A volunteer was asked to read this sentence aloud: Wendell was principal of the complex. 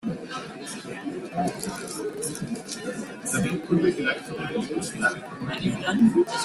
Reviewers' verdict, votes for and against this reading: rejected, 0, 2